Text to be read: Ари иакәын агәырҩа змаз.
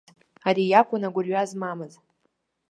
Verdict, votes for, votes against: rejected, 0, 2